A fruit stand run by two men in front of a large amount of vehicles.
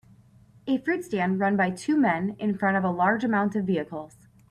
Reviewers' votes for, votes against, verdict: 4, 0, accepted